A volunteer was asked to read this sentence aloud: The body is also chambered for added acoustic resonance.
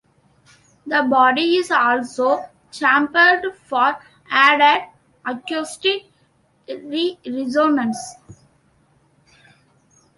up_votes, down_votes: 0, 2